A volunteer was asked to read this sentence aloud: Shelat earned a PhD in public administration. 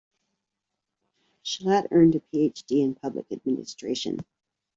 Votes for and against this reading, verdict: 2, 0, accepted